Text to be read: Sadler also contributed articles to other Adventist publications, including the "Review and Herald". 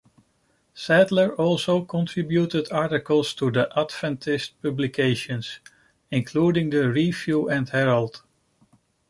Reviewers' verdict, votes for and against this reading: rejected, 1, 2